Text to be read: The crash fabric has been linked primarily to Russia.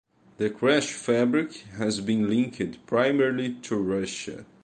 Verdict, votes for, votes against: accepted, 2, 1